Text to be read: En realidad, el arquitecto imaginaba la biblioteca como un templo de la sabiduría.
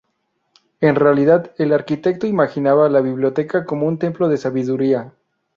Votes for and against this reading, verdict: 2, 2, rejected